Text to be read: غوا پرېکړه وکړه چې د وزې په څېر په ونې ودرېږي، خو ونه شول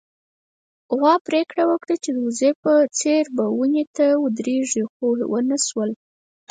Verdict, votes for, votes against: rejected, 0, 4